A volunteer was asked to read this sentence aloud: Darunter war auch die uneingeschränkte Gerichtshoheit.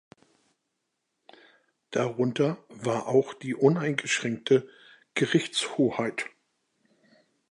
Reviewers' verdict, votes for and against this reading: accepted, 2, 0